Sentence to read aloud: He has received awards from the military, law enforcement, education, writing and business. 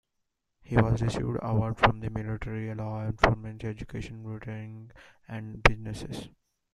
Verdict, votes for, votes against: rejected, 0, 2